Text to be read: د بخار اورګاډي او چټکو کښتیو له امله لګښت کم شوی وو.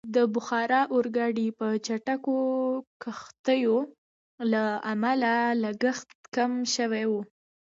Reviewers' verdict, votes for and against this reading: accepted, 2, 0